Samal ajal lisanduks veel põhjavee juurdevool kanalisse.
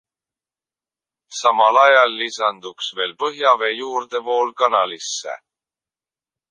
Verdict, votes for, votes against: accepted, 2, 0